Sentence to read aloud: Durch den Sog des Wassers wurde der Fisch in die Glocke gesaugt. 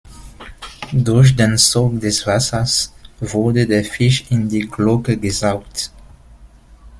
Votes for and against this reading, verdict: 1, 2, rejected